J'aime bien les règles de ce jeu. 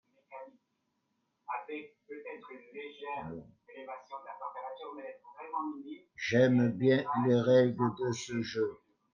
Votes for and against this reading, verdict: 0, 2, rejected